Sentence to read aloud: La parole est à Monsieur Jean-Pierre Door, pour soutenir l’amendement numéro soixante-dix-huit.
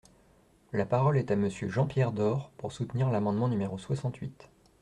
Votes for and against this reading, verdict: 1, 2, rejected